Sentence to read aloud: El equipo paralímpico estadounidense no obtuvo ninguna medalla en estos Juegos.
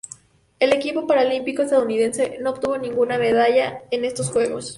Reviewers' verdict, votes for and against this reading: accepted, 4, 0